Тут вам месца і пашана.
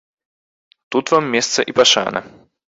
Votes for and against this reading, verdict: 2, 0, accepted